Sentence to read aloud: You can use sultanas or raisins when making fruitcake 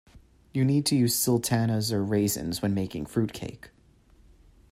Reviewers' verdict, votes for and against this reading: rejected, 0, 2